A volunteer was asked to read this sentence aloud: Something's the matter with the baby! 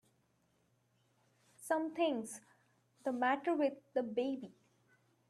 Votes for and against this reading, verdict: 2, 0, accepted